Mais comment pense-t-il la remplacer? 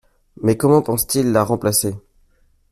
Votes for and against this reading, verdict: 2, 0, accepted